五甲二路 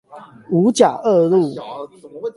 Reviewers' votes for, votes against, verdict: 8, 4, accepted